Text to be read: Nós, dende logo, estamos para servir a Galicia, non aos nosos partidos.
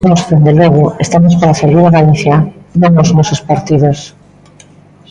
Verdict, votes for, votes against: accepted, 2, 1